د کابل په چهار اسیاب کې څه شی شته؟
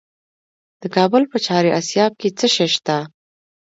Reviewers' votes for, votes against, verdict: 2, 0, accepted